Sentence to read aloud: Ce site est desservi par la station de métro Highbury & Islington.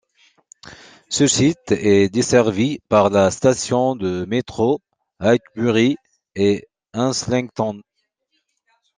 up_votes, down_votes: 1, 2